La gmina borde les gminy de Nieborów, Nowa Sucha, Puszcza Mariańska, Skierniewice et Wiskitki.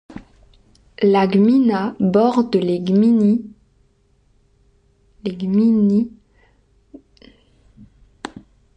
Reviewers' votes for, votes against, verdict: 0, 3, rejected